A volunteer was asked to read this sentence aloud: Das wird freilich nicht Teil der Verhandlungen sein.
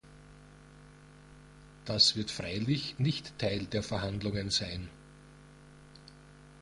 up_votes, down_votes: 2, 0